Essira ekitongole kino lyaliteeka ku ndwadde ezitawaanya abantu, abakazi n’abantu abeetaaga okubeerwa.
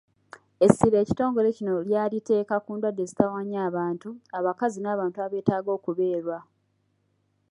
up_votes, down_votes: 2, 1